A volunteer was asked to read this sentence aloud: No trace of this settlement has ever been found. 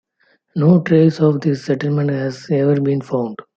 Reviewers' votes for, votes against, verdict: 2, 0, accepted